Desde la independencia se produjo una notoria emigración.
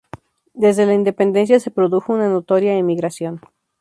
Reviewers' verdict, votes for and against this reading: accepted, 2, 0